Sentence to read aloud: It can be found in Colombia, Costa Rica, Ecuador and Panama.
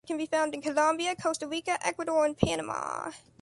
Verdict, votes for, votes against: rejected, 1, 2